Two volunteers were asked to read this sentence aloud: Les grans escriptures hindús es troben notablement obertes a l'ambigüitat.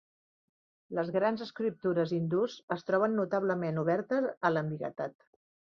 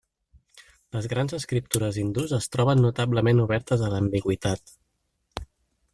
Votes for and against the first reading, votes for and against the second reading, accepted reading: 0, 2, 3, 0, second